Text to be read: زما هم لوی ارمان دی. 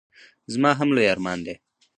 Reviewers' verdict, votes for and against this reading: rejected, 0, 4